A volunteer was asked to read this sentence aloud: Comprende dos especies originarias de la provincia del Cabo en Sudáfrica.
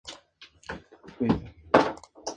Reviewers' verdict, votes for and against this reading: rejected, 0, 2